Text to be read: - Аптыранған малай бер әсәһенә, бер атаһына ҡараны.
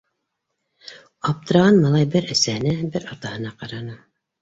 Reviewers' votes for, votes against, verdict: 2, 0, accepted